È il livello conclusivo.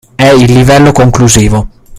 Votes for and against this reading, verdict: 0, 2, rejected